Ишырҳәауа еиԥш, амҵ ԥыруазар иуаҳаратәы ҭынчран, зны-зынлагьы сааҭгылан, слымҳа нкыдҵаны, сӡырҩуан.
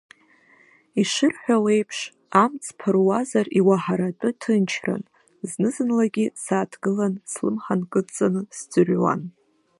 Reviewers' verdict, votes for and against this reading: accepted, 2, 0